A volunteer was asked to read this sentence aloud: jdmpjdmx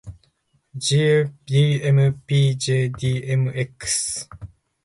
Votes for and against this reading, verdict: 2, 0, accepted